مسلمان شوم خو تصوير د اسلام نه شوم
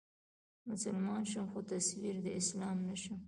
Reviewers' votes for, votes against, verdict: 1, 2, rejected